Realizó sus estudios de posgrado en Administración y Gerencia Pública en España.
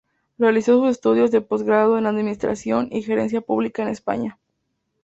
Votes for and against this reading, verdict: 2, 0, accepted